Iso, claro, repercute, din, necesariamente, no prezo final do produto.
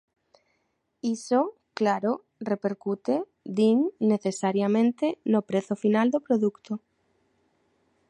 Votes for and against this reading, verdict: 1, 2, rejected